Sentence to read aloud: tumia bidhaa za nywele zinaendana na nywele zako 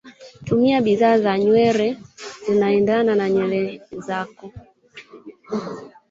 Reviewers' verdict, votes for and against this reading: rejected, 1, 3